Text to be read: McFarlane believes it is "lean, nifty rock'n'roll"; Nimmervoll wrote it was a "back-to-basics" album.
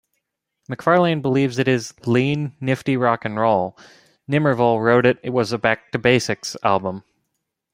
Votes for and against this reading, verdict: 2, 0, accepted